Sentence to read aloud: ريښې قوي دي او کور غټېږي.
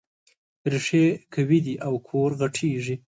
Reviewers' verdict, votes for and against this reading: rejected, 1, 2